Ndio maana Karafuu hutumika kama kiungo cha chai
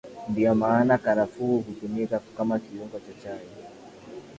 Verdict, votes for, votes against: accepted, 38, 7